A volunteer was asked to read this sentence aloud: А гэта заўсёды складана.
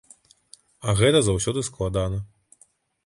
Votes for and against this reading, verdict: 2, 0, accepted